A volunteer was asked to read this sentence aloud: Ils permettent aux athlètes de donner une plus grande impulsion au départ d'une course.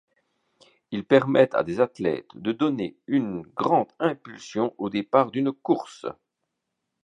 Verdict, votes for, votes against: rejected, 1, 2